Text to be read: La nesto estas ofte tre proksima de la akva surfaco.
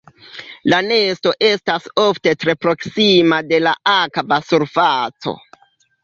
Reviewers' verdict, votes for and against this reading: rejected, 1, 2